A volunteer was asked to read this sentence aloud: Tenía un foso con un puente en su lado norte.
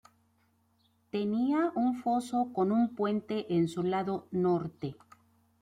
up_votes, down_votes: 2, 0